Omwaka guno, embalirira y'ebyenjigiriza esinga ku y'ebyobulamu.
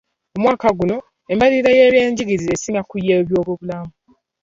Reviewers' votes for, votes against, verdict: 2, 0, accepted